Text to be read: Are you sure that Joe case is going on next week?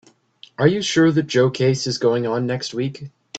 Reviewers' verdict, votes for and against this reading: accepted, 2, 0